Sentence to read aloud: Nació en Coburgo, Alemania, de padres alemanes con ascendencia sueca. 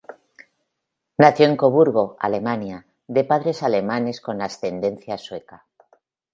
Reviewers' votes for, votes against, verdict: 3, 0, accepted